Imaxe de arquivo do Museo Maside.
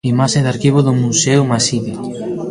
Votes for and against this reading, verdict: 2, 0, accepted